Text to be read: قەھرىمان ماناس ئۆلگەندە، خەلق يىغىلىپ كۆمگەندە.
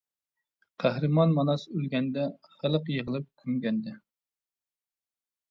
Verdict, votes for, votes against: accepted, 2, 0